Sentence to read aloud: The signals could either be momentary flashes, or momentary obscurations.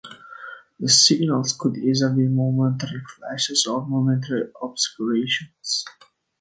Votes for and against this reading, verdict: 2, 1, accepted